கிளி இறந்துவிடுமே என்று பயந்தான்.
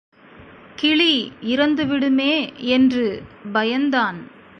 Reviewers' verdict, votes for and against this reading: rejected, 1, 2